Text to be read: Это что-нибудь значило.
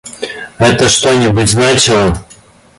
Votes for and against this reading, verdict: 2, 0, accepted